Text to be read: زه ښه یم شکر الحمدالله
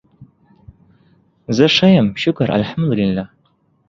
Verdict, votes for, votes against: accepted, 2, 1